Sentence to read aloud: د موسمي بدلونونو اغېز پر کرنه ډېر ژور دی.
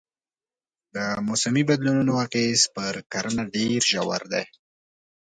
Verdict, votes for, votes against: accepted, 3, 0